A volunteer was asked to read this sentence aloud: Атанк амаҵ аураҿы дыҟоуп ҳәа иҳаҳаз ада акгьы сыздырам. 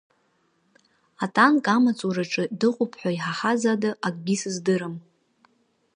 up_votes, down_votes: 6, 0